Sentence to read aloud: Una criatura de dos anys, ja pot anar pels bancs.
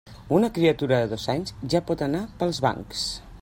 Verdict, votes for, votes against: rejected, 0, 2